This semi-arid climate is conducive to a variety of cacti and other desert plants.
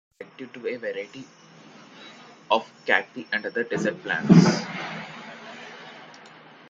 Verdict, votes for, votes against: rejected, 0, 2